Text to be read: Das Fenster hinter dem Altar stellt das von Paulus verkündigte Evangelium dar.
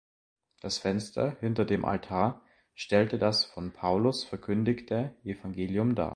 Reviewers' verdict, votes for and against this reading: rejected, 1, 2